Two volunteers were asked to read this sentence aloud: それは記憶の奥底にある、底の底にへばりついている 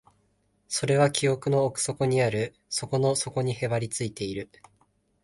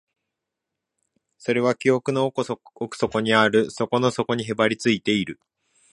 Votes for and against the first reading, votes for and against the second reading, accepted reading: 2, 0, 0, 2, first